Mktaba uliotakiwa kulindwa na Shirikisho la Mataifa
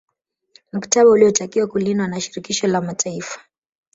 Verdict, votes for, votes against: rejected, 1, 2